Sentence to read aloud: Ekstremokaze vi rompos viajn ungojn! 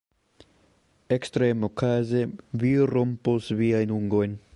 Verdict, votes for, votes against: accepted, 2, 0